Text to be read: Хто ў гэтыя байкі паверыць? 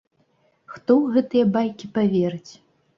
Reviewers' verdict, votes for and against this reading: accepted, 2, 0